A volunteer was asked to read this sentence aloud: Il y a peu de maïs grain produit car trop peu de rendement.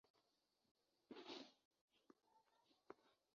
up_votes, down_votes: 0, 2